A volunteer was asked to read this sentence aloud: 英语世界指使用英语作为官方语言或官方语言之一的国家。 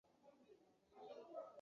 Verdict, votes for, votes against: rejected, 2, 5